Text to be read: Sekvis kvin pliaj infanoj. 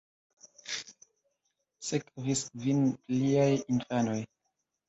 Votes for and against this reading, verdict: 0, 2, rejected